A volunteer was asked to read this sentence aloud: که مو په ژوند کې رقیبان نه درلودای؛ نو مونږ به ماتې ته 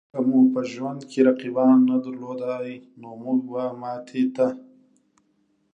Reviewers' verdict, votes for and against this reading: accepted, 2, 0